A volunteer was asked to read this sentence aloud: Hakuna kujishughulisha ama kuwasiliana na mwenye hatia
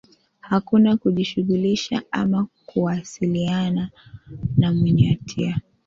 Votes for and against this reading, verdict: 3, 1, accepted